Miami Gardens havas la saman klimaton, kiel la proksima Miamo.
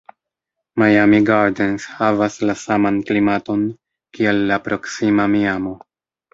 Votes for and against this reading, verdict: 1, 2, rejected